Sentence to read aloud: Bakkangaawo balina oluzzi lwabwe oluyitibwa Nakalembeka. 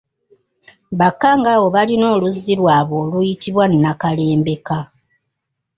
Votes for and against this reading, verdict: 2, 0, accepted